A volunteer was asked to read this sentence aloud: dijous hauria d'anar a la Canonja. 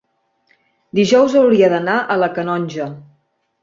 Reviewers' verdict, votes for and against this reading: accepted, 2, 0